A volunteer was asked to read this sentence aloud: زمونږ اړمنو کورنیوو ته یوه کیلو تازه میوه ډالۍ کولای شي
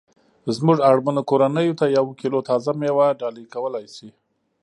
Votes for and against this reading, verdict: 2, 0, accepted